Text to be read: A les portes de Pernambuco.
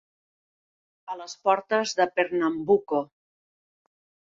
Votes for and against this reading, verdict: 3, 0, accepted